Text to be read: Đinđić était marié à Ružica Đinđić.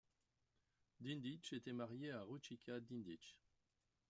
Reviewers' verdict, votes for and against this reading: rejected, 1, 2